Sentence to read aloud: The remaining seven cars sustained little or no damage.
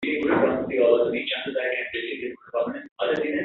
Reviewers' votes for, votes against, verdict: 0, 2, rejected